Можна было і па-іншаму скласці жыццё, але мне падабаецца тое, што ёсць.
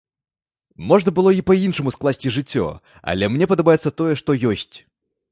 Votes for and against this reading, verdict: 2, 0, accepted